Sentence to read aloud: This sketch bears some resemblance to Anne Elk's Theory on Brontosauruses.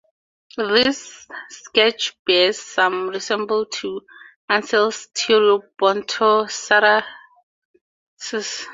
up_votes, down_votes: 0, 2